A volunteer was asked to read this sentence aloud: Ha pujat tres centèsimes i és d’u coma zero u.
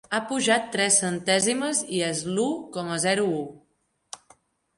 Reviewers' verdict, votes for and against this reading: rejected, 1, 3